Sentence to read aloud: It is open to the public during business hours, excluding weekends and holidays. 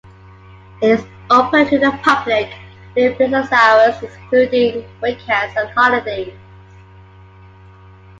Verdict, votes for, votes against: accepted, 2, 1